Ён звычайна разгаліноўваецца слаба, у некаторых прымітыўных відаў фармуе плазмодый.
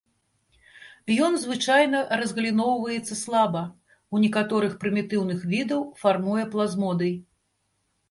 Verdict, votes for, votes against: accepted, 2, 0